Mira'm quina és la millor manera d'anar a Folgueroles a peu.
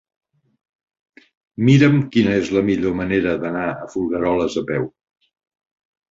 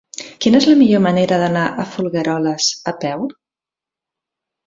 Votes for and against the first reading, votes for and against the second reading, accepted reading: 3, 0, 0, 2, first